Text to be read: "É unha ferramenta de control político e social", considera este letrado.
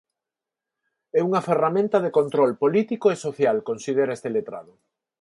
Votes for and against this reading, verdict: 4, 0, accepted